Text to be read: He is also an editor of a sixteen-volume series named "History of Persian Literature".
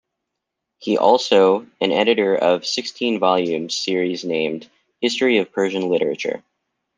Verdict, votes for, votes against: rejected, 0, 2